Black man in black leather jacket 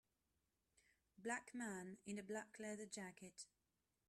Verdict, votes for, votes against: rejected, 1, 2